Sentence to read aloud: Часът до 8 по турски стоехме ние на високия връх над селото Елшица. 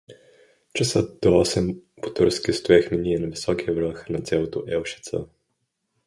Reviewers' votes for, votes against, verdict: 0, 2, rejected